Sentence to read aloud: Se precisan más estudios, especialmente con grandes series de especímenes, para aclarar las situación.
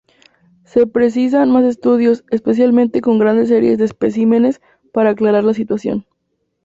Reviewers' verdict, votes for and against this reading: accepted, 4, 0